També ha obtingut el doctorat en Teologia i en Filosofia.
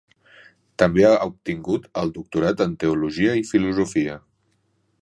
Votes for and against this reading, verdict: 1, 2, rejected